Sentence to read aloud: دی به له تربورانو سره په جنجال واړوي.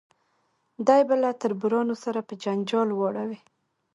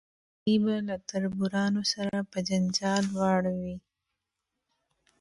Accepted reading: first